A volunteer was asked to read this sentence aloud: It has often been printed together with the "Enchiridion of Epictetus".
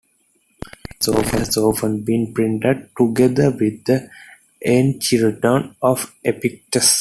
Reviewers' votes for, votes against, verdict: 0, 2, rejected